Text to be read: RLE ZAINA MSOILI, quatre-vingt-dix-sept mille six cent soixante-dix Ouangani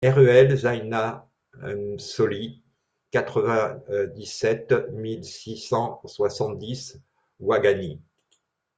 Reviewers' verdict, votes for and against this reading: rejected, 0, 2